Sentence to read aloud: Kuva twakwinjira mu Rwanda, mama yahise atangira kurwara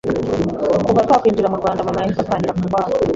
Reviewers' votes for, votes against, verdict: 2, 1, accepted